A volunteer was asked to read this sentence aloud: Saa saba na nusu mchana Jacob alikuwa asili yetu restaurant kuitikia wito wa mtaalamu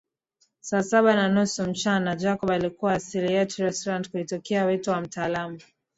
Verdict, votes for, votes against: accepted, 2, 0